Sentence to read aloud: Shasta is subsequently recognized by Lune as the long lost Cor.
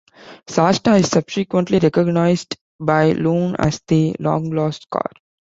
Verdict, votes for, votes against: accepted, 2, 0